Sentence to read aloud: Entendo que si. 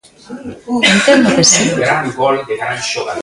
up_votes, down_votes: 0, 2